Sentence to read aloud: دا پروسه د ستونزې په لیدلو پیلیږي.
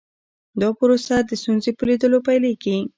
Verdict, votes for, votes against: accepted, 2, 0